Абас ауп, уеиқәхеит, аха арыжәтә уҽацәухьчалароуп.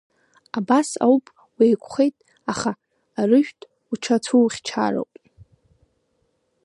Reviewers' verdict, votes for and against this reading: rejected, 0, 2